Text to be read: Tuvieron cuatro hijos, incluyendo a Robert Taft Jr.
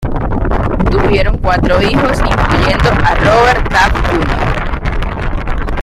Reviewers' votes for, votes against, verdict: 0, 2, rejected